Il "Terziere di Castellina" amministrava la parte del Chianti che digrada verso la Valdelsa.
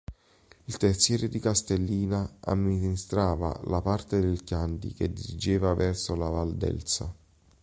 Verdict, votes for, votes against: rejected, 1, 2